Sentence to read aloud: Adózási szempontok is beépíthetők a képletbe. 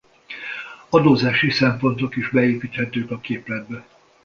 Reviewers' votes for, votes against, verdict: 2, 0, accepted